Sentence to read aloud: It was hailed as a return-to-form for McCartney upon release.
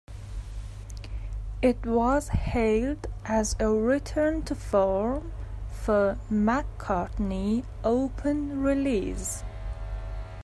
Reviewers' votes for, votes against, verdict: 0, 2, rejected